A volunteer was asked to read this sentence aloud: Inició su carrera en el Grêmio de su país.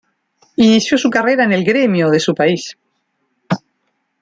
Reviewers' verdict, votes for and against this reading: accepted, 2, 1